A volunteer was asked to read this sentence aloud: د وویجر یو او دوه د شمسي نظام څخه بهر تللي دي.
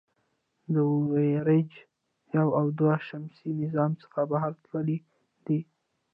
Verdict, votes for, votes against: accepted, 2, 0